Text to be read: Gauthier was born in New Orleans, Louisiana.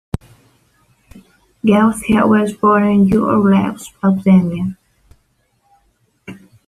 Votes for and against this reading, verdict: 0, 2, rejected